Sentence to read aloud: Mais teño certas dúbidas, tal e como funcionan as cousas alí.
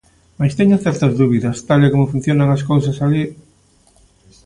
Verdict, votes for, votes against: accepted, 2, 0